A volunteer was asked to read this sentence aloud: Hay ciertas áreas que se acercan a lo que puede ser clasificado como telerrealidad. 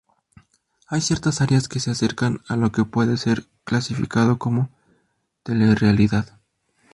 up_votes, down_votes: 2, 0